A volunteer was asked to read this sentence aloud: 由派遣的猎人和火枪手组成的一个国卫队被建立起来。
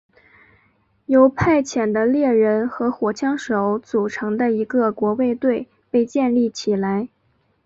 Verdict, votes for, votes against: accepted, 3, 0